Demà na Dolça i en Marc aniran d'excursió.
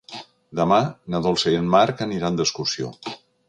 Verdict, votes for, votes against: accepted, 3, 0